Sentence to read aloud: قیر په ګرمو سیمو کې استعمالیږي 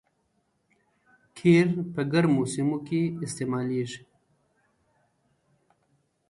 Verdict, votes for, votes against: accepted, 2, 0